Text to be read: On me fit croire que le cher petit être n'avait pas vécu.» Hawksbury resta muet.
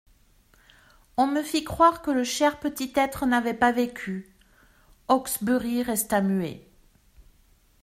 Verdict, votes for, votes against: accepted, 2, 0